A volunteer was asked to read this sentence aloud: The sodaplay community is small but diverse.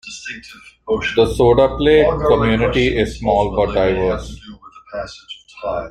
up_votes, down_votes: 1, 2